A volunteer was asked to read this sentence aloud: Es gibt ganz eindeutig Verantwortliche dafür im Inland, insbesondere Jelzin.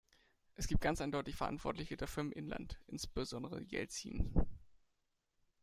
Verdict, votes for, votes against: accepted, 2, 0